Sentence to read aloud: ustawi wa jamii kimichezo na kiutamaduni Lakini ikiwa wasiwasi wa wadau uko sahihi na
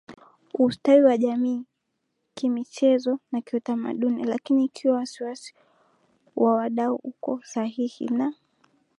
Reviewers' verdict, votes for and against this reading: accepted, 3, 0